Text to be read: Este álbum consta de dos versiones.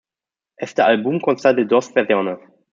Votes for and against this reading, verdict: 0, 2, rejected